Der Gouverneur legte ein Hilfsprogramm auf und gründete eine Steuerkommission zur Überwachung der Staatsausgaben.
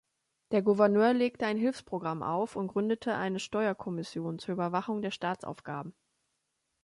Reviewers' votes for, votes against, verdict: 1, 2, rejected